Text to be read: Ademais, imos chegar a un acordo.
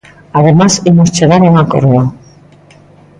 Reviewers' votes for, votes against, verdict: 1, 2, rejected